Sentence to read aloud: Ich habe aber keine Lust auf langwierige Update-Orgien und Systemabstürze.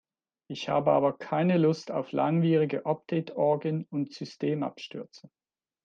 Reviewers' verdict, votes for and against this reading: accepted, 2, 0